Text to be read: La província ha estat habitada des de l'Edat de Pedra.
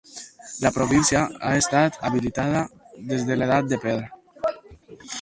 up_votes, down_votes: 0, 4